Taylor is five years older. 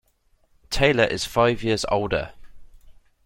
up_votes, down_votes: 2, 0